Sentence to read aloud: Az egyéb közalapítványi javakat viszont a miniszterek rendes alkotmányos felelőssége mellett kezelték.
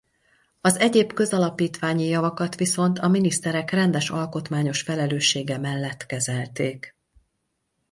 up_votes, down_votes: 4, 0